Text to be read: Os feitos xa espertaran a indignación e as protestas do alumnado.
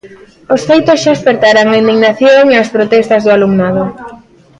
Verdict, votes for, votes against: accepted, 2, 0